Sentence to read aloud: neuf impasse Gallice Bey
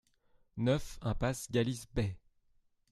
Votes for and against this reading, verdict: 2, 0, accepted